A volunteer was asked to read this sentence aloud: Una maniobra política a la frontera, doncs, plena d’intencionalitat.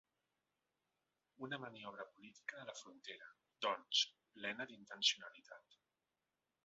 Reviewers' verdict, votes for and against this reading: rejected, 1, 2